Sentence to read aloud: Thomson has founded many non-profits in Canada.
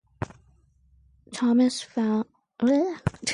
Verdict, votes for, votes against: rejected, 0, 2